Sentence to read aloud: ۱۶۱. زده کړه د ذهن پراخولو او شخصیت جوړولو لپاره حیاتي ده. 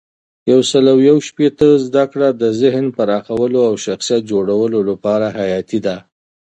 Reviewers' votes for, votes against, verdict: 0, 2, rejected